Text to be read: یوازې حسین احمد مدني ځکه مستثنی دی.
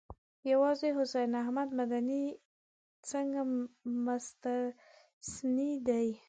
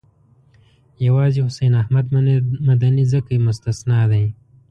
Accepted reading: second